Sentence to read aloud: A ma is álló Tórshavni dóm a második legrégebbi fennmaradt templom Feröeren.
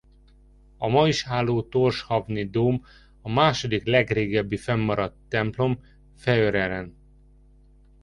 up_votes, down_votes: 0, 2